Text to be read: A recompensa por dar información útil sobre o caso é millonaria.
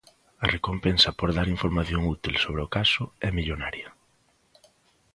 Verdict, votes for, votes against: accepted, 2, 0